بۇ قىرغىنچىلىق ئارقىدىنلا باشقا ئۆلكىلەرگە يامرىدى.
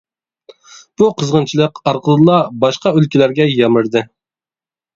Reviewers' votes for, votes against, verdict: 0, 2, rejected